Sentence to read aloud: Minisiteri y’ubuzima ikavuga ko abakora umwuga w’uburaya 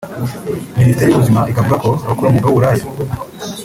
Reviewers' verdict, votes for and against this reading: rejected, 0, 2